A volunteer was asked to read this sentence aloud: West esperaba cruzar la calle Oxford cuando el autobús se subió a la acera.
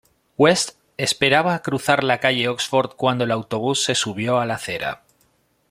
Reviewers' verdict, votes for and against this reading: rejected, 0, 2